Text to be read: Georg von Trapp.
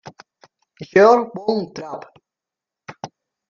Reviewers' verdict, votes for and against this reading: rejected, 0, 2